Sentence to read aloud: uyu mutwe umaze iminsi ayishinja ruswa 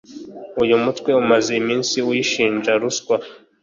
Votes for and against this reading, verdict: 0, 2, rejected